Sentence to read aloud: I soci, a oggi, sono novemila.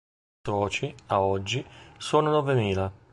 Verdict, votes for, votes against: rejected, 0, 2